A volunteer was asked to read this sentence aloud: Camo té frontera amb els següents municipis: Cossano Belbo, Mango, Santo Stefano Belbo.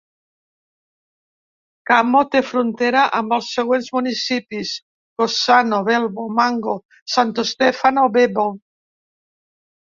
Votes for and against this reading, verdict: 0, 2, rejected